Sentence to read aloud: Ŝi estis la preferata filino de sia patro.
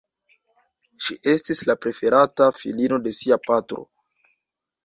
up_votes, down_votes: 1, 2